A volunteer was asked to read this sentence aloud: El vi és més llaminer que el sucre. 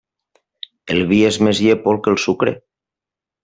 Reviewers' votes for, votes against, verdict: 0, 2, rejected